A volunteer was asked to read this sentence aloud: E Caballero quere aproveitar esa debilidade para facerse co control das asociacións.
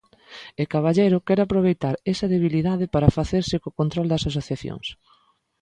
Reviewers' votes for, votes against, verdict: 2, 0, accepted